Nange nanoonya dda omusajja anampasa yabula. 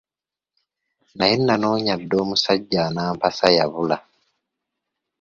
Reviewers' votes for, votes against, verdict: 0, 2, rejected